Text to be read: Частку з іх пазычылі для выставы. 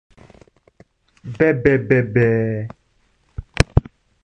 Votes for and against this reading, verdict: 0, 2, rejected